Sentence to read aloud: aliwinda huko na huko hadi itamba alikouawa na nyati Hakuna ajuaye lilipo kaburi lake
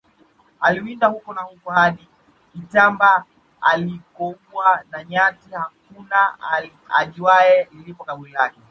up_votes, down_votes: 1, 2